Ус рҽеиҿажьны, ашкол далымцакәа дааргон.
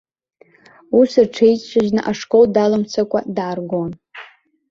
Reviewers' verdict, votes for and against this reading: accepted, 2, 0